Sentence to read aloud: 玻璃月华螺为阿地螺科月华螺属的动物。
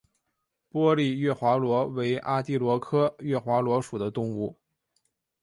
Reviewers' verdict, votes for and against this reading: accepted, 3, 0